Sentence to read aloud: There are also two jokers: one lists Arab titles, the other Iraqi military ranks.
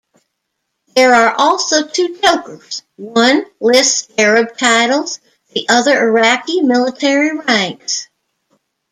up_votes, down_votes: 0, 2